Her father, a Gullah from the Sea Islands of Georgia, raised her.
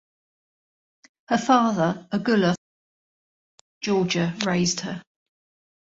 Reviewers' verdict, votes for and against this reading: rejected, 1, 2